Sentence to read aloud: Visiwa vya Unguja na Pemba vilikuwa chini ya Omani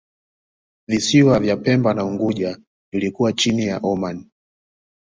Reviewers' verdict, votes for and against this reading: rejected, 0, 2